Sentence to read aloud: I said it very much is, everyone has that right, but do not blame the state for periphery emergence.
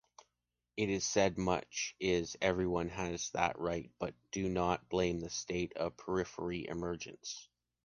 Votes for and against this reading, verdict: 0, 2, rejected